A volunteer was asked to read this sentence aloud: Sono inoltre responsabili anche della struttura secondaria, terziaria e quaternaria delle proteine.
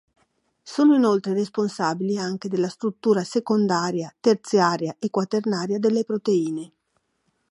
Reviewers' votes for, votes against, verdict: 2, 0, accepted